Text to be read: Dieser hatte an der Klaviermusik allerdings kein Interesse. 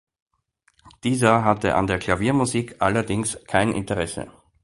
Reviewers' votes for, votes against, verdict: 2, 0, accepted